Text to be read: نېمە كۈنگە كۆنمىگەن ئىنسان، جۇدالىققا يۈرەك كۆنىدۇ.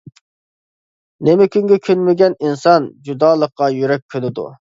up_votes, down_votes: 2, 0